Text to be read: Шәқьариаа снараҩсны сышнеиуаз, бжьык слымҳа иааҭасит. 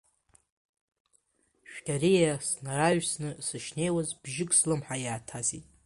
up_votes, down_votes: 1, 2